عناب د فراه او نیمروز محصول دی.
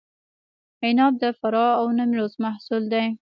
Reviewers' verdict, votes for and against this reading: rejected, 1, 2